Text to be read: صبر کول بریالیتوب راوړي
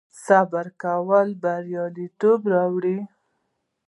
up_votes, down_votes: 1, 2